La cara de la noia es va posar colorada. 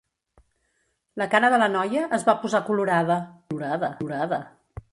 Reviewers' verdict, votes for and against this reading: rejected, 0, 2